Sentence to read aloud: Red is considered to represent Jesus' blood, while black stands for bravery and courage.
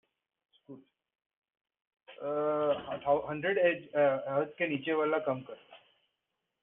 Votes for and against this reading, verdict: 0, 2, rejected